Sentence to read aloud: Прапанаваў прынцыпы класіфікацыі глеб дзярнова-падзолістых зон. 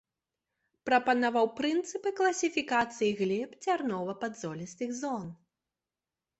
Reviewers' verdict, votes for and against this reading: accepted, 2, 0